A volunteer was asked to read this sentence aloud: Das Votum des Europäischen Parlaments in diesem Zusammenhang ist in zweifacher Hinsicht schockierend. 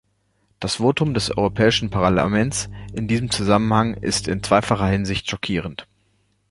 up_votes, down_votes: 1, 2